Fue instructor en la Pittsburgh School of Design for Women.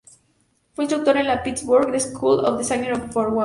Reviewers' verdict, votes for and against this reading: rejected, 0, 2